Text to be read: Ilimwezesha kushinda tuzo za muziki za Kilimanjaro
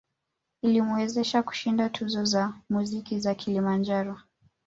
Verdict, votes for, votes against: rejected, 1, 2